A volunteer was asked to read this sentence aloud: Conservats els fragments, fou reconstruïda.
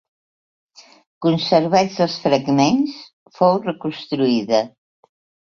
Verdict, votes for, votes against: accepted, 3, 0